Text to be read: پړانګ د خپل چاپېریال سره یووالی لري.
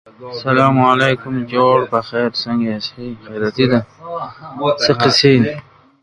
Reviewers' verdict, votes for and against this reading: rejected, 0, 2